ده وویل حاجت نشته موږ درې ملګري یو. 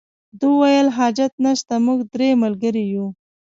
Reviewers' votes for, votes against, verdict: 2, 0, accepted